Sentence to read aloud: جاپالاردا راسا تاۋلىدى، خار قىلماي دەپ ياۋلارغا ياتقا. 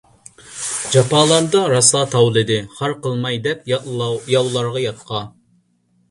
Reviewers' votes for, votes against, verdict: 1, 2, rejected